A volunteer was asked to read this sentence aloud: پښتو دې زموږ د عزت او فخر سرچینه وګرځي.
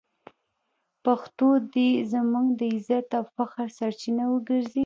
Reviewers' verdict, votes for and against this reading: rejected, 0, 2